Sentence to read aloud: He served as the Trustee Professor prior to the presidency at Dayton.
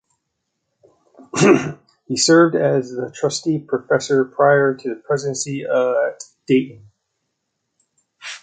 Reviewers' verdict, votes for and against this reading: rejected, 1, 2